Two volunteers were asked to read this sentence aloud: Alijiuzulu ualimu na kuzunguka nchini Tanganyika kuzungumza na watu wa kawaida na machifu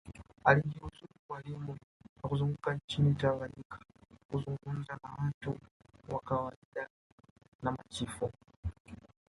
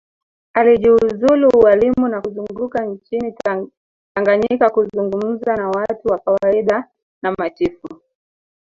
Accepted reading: first